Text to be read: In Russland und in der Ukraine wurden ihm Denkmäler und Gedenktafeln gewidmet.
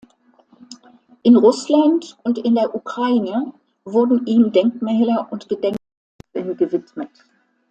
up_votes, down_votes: 0, 2